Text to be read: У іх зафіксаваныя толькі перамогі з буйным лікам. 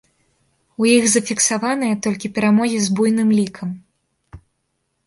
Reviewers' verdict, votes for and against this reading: rejected, 0, 2